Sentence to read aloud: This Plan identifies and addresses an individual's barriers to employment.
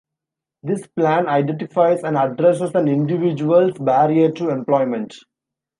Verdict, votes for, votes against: accepted, 2, 0